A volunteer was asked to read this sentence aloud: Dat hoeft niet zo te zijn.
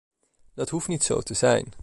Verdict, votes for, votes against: accepted, 2, 0